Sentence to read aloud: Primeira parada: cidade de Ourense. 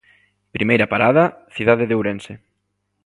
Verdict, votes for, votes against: accepted, 3, 0